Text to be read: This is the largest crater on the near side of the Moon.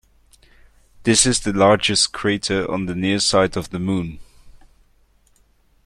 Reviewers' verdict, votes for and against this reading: accepted, 3, 0